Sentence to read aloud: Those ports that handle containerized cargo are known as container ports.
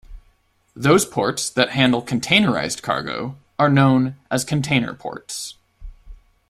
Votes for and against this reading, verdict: 2, 0, accepted